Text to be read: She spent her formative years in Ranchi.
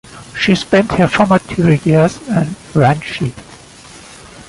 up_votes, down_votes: 2, 1